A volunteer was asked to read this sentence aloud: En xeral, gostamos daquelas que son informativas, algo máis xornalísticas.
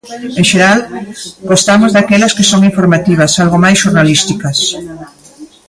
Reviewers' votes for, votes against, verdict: 0, 2, rejected